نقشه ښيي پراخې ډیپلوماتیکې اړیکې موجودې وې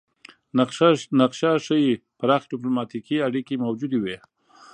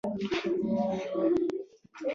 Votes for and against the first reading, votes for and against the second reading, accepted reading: 0, 2, 2, 0, second